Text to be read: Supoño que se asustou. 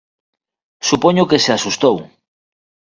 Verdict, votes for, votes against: accepted, 2, 0